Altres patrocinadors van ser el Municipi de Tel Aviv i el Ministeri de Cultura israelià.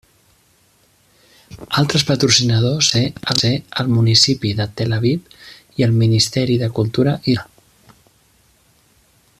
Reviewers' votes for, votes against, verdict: 0, 2, rejected